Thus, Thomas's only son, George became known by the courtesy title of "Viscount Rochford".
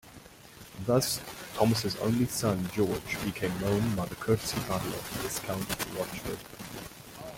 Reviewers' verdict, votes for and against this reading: rejected, 0, 2